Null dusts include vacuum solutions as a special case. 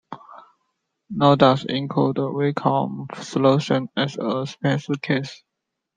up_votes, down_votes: 0, 2